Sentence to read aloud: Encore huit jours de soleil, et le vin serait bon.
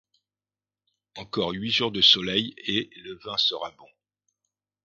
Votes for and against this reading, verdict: 1, 2, rejected